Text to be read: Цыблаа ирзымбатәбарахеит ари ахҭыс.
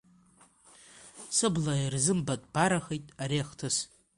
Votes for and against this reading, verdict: 0, 2, rejected